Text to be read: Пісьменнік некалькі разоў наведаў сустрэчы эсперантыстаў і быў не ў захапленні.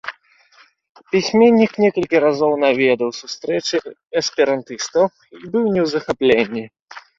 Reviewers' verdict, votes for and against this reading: accepted, 2, 1